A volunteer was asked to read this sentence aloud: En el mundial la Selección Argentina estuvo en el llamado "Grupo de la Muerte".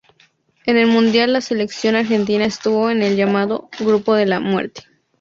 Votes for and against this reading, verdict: 2, 0, accepted